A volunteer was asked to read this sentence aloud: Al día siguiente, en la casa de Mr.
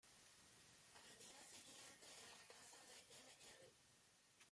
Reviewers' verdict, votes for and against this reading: rejected, 0, 2